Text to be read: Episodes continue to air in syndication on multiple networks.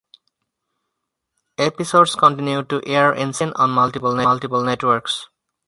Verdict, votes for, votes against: rejected, 0, 4